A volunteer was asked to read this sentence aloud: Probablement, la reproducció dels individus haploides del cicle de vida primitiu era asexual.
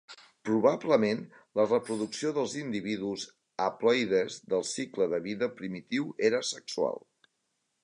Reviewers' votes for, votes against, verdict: 0, 2, rejected